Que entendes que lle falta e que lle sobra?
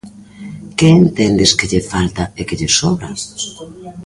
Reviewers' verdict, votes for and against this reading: rejected, 0, 2